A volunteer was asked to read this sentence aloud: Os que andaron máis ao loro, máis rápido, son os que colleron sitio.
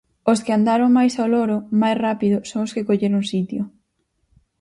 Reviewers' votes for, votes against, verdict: 6, 0, accepted